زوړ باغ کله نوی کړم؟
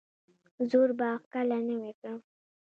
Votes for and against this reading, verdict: 2, 0, accepted